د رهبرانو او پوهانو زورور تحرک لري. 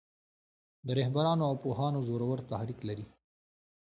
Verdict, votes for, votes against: accepted, 2, 0